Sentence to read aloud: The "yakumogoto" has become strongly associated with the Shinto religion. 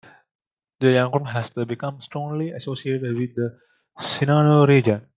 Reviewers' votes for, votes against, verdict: 1, 2, rejected